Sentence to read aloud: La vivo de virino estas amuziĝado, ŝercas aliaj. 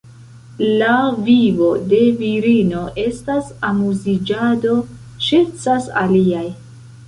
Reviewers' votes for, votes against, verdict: 2, 1, accepted